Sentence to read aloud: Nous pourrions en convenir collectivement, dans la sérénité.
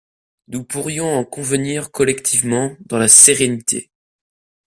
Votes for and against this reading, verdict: 2, 0, accepted